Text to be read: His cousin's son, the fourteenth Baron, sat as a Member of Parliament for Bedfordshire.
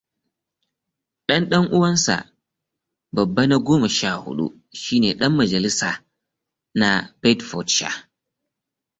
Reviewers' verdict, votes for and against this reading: rejected, 0, 2